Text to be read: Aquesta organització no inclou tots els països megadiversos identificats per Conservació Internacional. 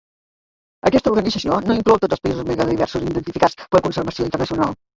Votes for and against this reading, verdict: 1, 2, rejected